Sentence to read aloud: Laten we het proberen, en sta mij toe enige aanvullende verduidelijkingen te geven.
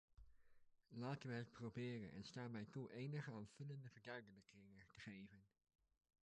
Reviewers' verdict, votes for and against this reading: rejected, 0, 2